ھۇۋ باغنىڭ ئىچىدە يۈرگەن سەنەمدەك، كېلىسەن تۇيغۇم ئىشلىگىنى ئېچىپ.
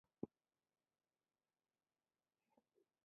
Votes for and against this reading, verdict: 0, 2, rejected